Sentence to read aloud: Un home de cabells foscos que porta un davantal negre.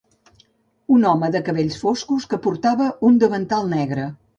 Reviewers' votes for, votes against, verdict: 0, 2, rejected